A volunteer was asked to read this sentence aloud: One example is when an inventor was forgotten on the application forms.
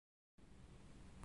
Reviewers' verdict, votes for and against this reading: rejected, 0, 2